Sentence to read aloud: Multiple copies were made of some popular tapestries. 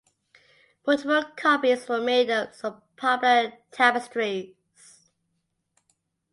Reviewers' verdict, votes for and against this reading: accepted, 2, 1